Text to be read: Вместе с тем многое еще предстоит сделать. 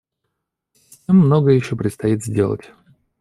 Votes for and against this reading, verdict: 0, 2, rejected